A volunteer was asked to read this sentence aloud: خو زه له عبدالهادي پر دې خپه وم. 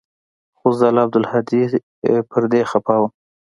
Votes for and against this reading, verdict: 2, 0, accepted